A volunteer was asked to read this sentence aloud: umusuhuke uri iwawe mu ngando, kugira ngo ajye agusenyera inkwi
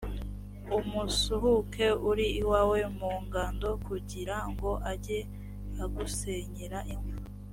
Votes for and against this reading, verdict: 3, 0, accepted